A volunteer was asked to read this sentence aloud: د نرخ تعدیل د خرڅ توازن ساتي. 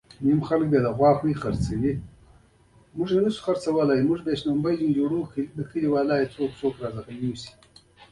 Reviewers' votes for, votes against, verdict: 2, 1, accepted